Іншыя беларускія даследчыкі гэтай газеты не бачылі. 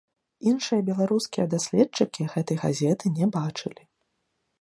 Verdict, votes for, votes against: rejected, 0, 2